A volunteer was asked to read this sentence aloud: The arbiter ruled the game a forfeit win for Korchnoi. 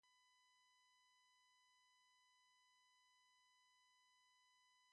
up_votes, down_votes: 0, 2